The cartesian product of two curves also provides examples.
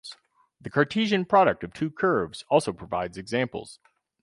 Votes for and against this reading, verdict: 2, 2, rejected